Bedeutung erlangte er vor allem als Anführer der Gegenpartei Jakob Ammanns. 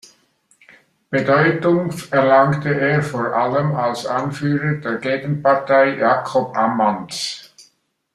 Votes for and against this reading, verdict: 1, 2, rejected